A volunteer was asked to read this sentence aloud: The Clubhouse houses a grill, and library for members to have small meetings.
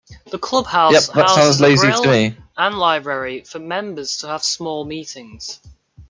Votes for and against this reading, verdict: 1, 2, rejected